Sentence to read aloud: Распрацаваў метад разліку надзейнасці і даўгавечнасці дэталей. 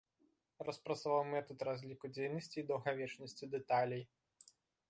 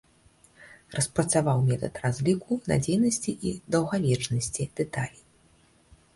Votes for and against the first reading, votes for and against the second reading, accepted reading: 1, 2, 2, 0, second